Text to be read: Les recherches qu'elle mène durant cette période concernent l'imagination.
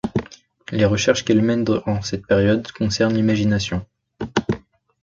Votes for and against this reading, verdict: 0, 2, rejected